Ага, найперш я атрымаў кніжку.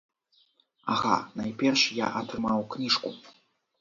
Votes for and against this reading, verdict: 2, 0, accepted